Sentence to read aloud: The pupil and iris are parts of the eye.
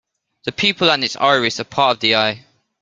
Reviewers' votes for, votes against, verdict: 0, 2, rejected